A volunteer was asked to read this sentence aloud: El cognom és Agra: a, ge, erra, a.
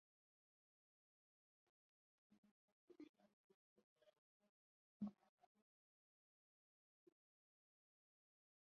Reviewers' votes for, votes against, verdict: 0, 2, rejected